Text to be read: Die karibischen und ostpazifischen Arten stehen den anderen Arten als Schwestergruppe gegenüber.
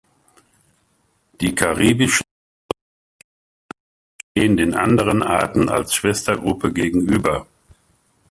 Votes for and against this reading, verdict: 0, 2, rejected